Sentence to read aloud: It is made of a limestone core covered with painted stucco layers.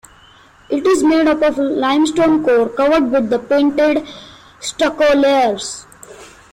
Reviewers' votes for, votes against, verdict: 0, 2, rejected